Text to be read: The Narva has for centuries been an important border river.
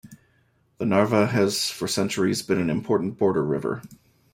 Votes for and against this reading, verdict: 2, 0, accepted